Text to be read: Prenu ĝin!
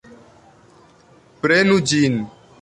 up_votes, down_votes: 1, 2